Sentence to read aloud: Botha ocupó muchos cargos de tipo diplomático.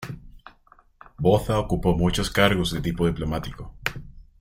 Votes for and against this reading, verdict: 1, 2, rejected